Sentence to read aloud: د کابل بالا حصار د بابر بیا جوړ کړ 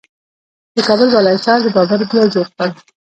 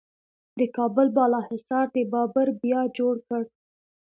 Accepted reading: second